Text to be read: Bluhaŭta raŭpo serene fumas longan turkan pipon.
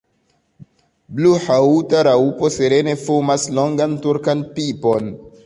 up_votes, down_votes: 2, 0